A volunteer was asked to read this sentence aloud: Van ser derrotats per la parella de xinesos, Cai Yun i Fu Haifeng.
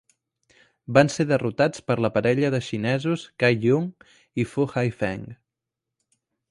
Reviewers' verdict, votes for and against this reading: accepted, 4, 1